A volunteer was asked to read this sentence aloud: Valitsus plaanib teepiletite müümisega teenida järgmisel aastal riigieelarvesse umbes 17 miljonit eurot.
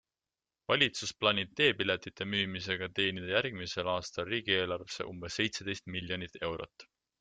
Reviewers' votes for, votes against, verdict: 0, 2, rejected